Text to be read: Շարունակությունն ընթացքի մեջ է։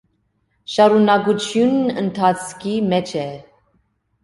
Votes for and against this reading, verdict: 2, 0, accepted